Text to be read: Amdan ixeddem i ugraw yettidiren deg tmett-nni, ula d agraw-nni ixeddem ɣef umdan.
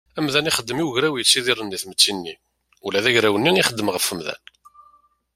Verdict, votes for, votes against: accepted, 2, 0